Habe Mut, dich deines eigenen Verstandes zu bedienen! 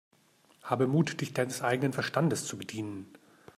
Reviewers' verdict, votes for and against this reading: accepted, 2, 0